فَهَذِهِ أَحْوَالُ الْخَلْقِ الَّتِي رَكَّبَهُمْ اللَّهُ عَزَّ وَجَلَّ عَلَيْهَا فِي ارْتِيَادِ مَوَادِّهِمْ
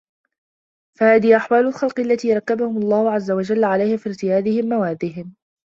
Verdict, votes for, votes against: rejected, 1, 2